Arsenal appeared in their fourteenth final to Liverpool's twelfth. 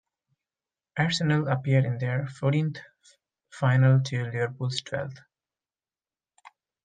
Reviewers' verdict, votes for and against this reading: rejected, 0, 2